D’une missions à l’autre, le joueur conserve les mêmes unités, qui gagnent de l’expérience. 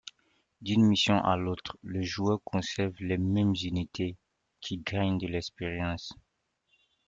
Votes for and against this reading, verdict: 2, 1, accepted